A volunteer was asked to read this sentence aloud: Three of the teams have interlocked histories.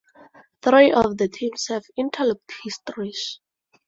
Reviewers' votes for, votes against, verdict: 2, 4, rejected